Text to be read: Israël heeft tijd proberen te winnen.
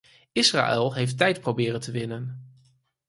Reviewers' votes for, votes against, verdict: 4, 0, accepted